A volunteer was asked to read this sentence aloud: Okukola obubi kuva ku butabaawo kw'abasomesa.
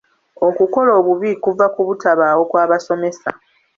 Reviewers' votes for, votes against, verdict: 2, 1, accepted